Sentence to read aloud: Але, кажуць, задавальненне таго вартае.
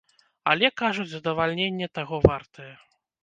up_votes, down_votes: 2, 0